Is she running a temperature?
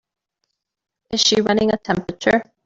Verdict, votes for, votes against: accepted, 3, 0